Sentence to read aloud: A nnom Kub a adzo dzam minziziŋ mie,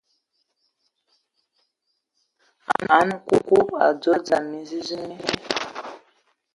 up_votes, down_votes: 0, 2